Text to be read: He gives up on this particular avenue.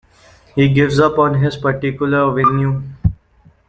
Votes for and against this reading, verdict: 0, 2, rejected